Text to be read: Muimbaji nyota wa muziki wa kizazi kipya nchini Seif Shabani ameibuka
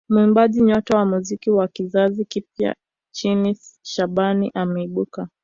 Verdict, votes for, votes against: accepted, 2, 0